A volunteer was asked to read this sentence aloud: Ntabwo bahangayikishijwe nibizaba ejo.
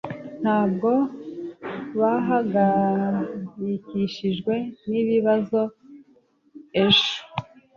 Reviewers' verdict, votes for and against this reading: rejected, 0, 2